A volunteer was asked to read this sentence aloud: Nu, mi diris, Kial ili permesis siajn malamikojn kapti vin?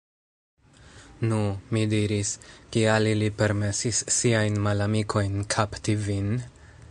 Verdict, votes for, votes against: rejected, 1, 2